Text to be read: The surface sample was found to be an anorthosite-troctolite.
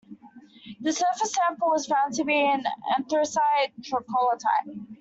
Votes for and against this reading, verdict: 0, 2, rejected